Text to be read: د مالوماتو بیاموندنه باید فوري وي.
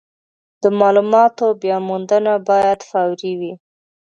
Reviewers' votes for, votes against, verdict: 2, 0, accepted